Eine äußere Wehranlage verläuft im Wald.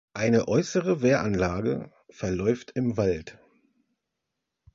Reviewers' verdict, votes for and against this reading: accepted, 2, 0